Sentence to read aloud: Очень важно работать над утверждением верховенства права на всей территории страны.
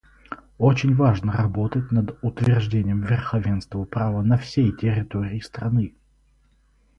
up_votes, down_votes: 4, 0